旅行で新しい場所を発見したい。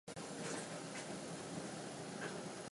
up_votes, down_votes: 0, 3